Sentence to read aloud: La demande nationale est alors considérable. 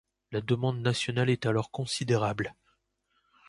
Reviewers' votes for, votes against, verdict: 2, 0, accepted